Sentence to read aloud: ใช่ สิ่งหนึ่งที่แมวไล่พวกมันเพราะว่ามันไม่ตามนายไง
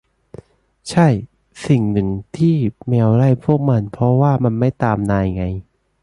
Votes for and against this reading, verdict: 2, 0, accepted